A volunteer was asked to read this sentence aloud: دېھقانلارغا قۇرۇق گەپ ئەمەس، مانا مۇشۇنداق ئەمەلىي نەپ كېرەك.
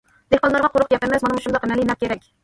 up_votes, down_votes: 0, 2